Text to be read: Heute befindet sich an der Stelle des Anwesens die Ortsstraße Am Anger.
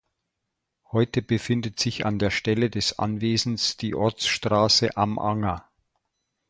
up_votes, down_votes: 2, 0